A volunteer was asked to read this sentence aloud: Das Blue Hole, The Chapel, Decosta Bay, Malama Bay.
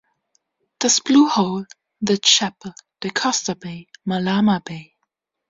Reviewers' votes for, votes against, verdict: 2, 0, accepted